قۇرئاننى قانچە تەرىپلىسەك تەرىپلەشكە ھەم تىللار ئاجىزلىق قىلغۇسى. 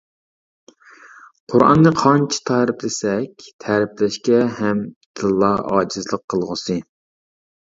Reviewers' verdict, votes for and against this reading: rejected, 0, 2